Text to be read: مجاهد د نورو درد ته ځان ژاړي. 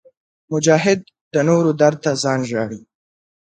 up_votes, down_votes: 2, 0